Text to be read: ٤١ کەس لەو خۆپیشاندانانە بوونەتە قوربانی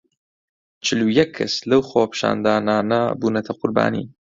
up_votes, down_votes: 0, 2